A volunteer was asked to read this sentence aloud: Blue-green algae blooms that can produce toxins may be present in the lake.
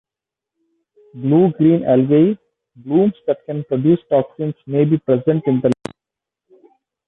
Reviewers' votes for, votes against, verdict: 0, 2, rejected